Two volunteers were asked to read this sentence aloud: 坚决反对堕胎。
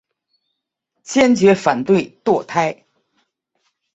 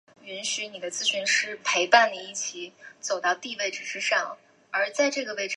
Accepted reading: first